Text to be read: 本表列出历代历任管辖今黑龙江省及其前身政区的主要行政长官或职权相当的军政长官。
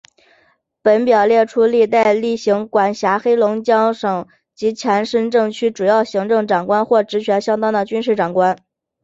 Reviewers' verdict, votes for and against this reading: accepted, 3, 0